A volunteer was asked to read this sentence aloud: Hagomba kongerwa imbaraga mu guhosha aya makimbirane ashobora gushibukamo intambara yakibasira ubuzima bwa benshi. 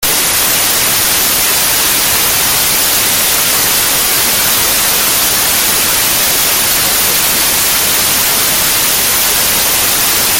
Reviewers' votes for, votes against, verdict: 0, 2, rejected